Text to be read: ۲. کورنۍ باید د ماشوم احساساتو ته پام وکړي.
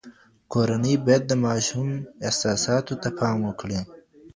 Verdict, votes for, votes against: rejected, 0, 2